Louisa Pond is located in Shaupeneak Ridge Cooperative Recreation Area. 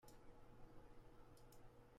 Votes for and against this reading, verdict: 0, 2, rejected